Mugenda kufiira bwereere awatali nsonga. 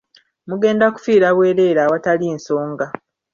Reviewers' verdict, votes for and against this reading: accepted, 2, 0